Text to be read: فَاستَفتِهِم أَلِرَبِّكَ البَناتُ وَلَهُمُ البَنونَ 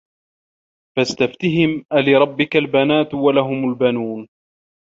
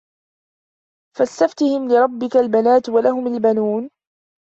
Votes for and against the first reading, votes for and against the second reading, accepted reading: 2, 0, 0, 2, first